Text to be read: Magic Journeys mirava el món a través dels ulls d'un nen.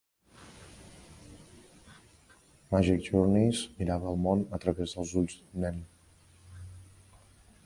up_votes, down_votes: 1, 2